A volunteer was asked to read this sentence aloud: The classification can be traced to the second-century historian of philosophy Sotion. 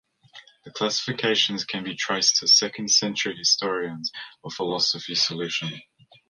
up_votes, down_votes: 0, 2